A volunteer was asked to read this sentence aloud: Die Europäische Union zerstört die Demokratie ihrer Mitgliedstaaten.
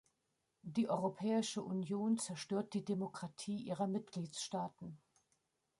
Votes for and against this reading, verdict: 1, 2, rejected